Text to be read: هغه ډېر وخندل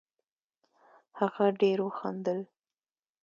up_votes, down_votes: 2, 0